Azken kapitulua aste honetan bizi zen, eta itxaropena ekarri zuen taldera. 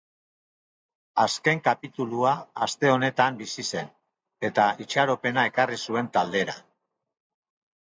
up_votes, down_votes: 3, 0